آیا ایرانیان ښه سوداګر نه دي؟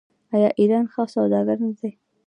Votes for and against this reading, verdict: 2, 0, accepted